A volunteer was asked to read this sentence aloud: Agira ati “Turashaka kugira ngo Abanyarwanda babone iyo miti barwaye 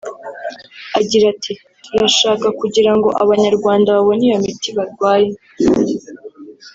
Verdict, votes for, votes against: accepted, 2, 0